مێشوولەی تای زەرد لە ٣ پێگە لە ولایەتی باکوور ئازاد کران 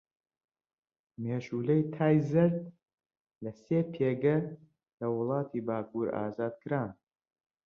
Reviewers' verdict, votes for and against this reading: rejected, 0, 2